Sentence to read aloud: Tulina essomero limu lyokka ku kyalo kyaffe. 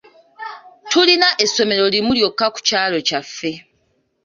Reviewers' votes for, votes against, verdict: 2, 0, accepted